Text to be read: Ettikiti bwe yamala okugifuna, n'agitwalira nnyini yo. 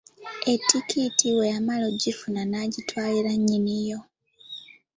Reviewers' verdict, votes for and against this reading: accepted, 2, 0